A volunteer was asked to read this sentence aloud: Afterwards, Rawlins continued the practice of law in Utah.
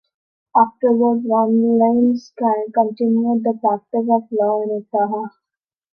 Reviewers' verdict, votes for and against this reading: rejected, 0, 2